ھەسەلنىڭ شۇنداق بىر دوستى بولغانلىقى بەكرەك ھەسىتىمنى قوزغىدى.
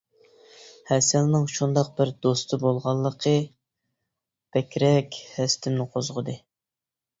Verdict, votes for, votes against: rejected, 0, 2